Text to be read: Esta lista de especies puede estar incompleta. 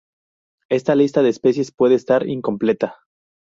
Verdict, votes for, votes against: accepted, 4, 0